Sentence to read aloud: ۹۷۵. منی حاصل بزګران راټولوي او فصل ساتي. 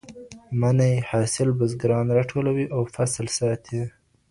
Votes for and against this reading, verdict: 0, 2, rejected